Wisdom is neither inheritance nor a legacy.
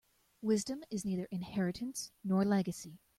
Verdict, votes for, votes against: rejected, 0, 2